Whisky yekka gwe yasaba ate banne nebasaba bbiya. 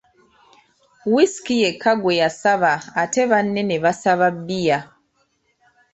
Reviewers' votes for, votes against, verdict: 2, 0, accepted